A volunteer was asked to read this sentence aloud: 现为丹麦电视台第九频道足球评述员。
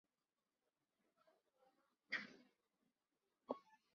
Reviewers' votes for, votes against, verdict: 3, 1, accepted